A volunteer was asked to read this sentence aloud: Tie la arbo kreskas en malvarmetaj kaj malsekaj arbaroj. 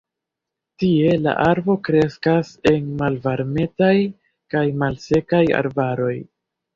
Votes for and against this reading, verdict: 2, 0, accepted